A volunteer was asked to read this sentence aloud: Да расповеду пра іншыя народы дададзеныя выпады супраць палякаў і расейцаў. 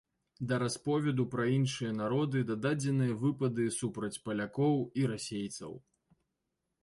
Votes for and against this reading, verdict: 1, 2, rejected